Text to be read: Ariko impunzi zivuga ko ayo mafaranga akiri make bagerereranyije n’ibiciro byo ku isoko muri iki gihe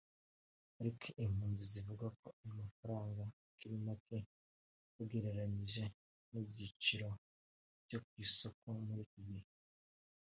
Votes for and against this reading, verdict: 1, 2, rejected